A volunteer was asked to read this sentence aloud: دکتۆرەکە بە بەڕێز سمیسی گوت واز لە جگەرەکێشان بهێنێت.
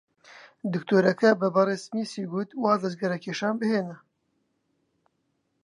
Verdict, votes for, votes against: accepted, 5, 2